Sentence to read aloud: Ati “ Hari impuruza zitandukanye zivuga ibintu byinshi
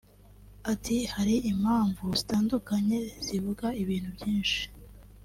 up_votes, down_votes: 2, 1